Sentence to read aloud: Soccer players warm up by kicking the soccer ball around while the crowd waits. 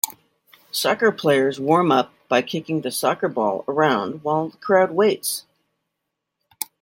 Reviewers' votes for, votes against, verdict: 2, 0, accepted